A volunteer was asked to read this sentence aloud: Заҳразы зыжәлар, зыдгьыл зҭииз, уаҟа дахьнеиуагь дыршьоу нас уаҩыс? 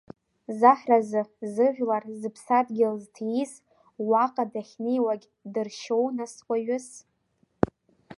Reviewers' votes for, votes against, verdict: 1, 2, rejected